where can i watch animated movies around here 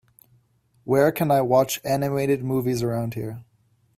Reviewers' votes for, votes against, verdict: 2, 0, accepted